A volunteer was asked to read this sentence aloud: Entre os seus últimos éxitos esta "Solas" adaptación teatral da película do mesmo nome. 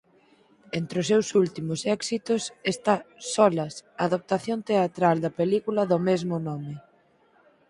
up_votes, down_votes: 0, 4